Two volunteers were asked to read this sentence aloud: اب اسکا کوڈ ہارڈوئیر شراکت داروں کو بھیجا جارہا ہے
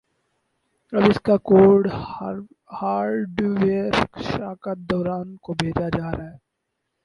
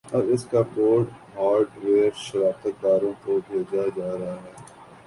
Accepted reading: second